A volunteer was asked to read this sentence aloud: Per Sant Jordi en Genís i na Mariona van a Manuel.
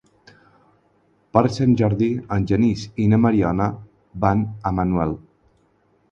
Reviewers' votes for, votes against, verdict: 6, 0, accepted